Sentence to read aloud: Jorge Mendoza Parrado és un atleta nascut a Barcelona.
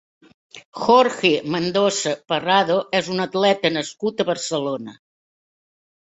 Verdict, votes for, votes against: accepted, 2, 0